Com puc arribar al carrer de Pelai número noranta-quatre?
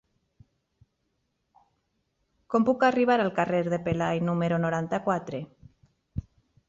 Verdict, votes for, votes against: accepted, 3, 0